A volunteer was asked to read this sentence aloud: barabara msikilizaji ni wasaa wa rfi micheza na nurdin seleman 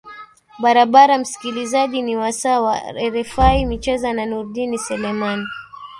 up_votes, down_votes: 2, 0